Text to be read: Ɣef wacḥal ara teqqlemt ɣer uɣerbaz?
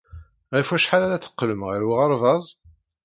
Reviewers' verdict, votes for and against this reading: rejected, 0, 2